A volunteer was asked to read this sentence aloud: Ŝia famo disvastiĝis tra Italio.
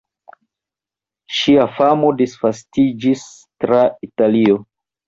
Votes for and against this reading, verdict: 2, 0, accepted